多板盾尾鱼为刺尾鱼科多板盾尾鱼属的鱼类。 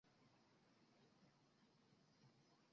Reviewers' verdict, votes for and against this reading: rejected, 1, 3